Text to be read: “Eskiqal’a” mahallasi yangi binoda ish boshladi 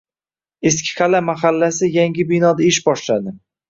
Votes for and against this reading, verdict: 2, 0, accepted